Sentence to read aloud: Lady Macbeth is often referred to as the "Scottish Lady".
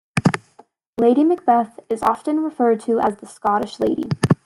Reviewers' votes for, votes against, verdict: 2, 1, accepted